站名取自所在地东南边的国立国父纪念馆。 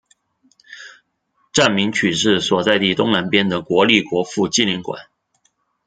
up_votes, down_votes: 2, 0